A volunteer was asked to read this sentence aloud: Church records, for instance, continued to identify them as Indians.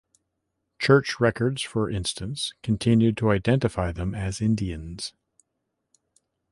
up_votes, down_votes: 2, 0